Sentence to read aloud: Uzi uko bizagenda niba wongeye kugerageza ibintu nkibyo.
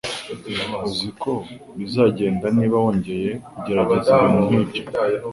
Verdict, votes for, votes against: accepted, 2, 0